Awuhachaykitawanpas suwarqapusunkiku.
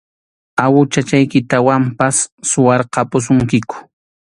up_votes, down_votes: 2, 1